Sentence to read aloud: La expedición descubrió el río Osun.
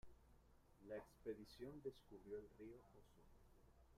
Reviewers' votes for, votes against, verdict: 0, 2, rejected